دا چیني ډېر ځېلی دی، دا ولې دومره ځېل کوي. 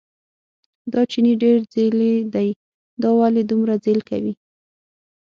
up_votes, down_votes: 0, 6